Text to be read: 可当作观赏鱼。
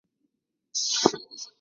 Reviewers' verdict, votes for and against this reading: rejected, 0, 2